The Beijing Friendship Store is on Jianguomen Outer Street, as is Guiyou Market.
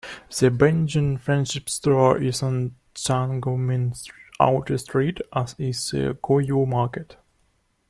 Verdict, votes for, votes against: rejected, 0, 2